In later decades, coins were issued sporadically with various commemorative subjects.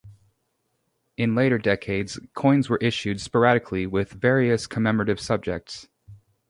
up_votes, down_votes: 0, 2